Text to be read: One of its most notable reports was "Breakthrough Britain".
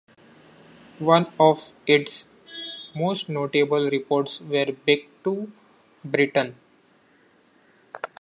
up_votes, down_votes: 0, 2